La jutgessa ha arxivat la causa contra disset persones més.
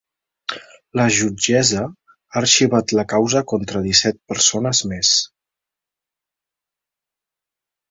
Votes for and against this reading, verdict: 4, 0, accepted